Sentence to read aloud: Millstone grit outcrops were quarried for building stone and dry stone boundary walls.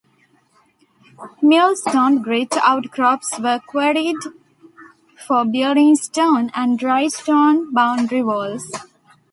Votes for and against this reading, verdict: 2, 0, accepted